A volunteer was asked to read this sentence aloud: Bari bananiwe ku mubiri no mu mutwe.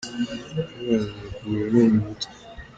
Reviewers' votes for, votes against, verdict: 1, 2, rejected